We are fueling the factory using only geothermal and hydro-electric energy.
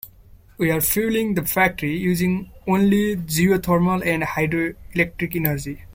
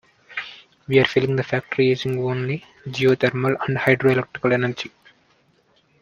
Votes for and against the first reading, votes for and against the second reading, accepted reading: 2, 1, 0, 2, first